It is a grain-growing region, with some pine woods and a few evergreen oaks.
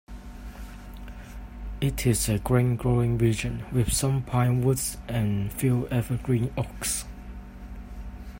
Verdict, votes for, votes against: rejected, 1, 2